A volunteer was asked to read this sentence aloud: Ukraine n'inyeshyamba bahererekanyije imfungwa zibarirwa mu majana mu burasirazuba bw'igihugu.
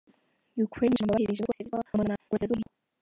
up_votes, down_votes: 0, 2